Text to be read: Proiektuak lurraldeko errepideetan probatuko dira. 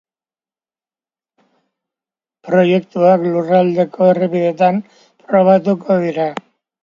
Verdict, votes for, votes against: accepted, 2, 1